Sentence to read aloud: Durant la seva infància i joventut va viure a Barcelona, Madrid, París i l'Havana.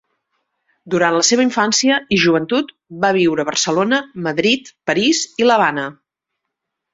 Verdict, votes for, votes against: accepted, 3, 0